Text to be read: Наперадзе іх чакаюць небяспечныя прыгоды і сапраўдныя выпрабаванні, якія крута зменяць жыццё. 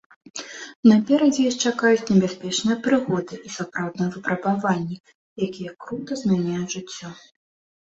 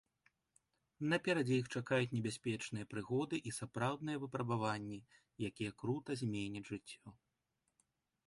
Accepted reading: second